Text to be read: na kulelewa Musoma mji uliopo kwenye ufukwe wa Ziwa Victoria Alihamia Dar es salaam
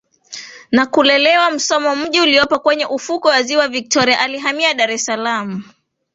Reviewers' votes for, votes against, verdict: 2, 1, accepted